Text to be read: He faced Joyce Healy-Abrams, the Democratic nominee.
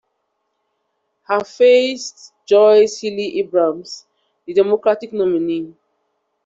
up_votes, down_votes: 1, 2